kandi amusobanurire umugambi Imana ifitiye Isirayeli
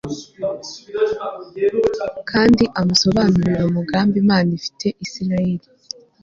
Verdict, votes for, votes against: accepted, 2, 0